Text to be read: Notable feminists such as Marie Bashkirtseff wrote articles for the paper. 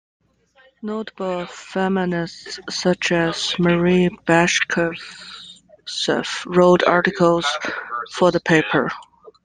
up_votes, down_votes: 0, 2